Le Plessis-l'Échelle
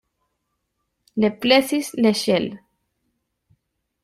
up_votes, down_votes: 1, 2